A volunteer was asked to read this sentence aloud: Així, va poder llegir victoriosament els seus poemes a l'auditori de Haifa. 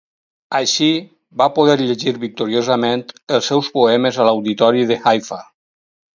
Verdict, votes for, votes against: accepted, 4, 0